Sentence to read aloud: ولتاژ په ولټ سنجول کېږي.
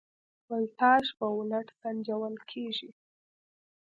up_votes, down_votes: 0, 2